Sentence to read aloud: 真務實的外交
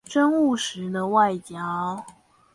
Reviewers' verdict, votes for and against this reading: rejected, 0, 2